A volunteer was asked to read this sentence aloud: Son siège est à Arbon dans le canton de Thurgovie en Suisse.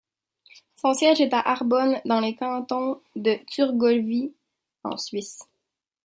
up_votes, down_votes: 1, 2